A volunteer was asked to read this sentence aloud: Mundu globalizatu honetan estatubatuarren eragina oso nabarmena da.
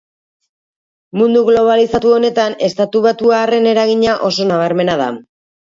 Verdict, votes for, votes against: rejected, 2, 2